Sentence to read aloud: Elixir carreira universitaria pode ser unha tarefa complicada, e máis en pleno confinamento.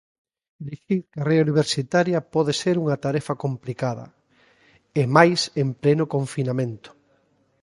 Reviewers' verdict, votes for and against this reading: accepted, 2, 1